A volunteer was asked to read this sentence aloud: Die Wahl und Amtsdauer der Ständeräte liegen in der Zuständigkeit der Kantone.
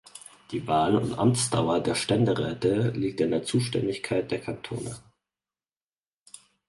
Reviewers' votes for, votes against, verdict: 0, 4, rejected